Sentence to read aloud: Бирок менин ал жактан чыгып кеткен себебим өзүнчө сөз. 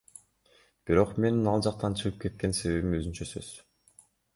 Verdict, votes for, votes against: rejected, 0, 2